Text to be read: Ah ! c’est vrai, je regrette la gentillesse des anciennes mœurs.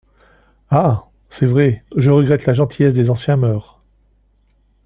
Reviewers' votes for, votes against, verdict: 2, 1, accepted